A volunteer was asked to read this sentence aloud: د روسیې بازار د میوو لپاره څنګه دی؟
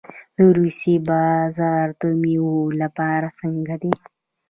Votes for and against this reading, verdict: 0, 2, rejected